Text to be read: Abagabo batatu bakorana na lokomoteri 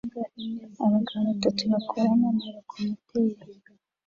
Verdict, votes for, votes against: rejected, 0, 2